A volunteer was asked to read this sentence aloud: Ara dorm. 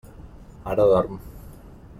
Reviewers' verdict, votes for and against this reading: accepted, 3, 0